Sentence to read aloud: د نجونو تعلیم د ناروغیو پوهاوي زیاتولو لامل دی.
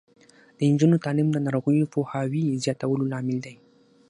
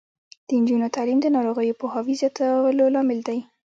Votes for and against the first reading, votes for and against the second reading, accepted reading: 6, 0, 1, 2, first